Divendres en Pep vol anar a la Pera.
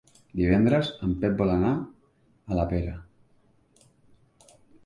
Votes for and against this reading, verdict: 2, 0, accepted